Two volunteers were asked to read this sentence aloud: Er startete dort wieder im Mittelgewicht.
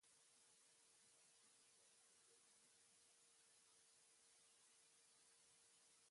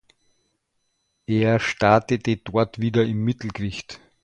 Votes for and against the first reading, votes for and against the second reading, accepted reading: 0, 2, 2, 0, second